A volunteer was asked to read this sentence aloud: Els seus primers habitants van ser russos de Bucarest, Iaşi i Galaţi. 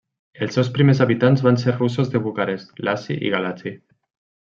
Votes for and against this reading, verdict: 2, 0, accepted